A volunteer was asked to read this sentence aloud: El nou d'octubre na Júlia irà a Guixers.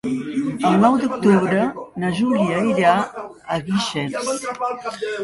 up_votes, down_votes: 3, 0